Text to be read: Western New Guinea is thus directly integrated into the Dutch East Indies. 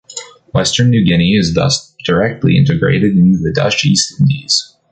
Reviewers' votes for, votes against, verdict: 1, 2, rejected